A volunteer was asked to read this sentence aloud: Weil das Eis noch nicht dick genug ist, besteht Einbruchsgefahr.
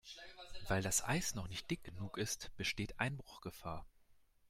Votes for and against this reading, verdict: 1, 2, rejected